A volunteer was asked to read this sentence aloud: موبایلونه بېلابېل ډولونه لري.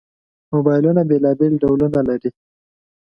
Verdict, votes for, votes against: accepted, 3, 0